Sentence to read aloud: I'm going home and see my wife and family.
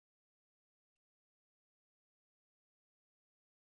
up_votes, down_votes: 0, 2